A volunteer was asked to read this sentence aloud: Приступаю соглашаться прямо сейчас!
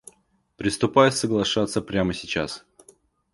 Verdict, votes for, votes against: accepted, 2, 0